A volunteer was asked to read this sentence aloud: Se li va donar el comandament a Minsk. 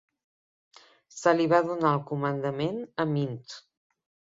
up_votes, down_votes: 2, 0